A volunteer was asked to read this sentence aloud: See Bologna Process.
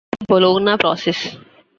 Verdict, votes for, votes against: rejected, 0, 2